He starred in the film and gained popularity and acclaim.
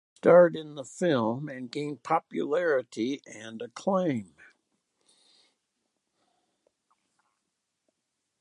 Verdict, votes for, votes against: rejected, 0, 3